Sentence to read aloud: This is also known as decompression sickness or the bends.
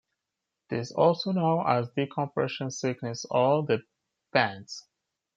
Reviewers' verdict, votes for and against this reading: accepted, 3, 2